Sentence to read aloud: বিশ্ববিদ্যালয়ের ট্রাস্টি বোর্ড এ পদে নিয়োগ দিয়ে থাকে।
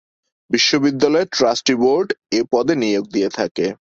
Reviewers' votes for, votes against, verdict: 11, 0, accepted